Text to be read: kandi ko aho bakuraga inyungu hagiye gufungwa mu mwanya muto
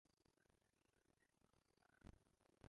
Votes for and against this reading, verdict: 0, 2, rejected